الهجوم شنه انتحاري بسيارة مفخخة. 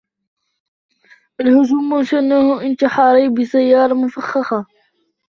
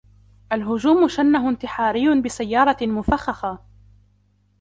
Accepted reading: first